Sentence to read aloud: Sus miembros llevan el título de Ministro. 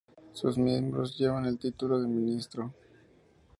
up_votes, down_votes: 2, 0